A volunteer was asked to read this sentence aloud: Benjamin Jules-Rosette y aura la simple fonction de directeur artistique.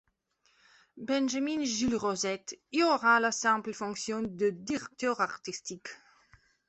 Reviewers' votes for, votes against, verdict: 1, 2, rejected